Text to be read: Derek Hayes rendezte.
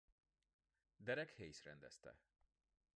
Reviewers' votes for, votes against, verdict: 1, 2, rejected